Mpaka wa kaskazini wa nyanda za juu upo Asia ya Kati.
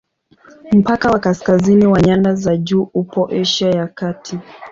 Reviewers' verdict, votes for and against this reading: accepted, 2, 0